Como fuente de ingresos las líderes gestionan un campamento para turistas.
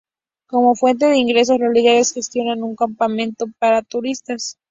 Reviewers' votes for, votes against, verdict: 2, 0, accepted